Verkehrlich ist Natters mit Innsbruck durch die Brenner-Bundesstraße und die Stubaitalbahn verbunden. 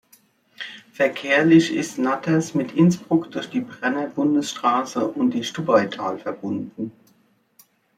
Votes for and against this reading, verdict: 0, 2, rejected